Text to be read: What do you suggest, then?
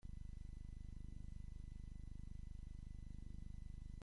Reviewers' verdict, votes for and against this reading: rejected, 0, 2